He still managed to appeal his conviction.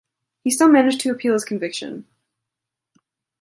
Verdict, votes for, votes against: accepted, 2, 0